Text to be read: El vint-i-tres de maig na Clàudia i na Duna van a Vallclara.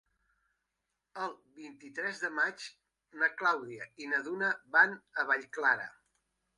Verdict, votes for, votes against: accepted, 3, 1